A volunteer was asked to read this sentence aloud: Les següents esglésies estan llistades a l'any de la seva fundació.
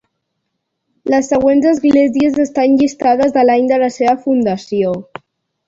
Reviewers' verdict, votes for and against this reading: accepted, 2, 0